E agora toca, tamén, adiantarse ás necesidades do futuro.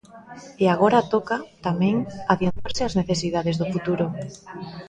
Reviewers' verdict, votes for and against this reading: rejected, 1, 2